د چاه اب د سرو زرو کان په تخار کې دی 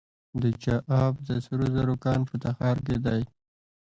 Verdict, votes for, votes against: rejected, 1, 2